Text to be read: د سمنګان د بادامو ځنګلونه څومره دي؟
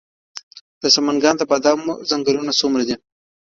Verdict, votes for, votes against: accepted, 2, 1